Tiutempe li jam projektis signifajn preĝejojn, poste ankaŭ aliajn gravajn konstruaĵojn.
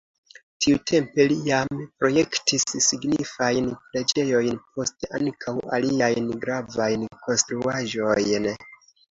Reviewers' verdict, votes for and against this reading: accepted, 2, 0